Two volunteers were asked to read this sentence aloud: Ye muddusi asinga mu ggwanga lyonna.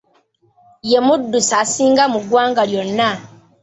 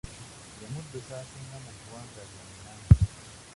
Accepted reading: first